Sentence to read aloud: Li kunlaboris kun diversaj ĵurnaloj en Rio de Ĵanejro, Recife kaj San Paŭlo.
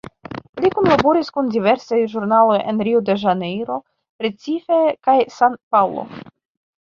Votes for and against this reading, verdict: 2, 1, accepted